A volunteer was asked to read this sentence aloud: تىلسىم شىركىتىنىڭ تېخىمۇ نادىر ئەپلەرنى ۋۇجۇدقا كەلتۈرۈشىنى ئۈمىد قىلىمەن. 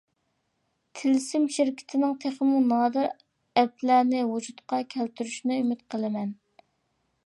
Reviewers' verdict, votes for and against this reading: accepted, 2, 1